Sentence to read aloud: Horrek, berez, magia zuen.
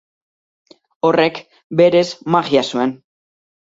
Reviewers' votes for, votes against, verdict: 4, 0, accepted